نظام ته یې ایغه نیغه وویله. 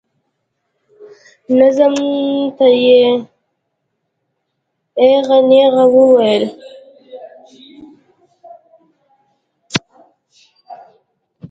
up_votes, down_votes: 0, 2